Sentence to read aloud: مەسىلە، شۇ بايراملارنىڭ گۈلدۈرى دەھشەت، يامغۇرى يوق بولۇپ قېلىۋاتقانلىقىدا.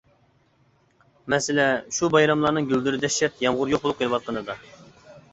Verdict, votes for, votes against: rejected, 0, 2